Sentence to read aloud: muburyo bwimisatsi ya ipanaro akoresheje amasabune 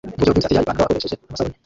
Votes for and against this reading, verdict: 0, 2, rejected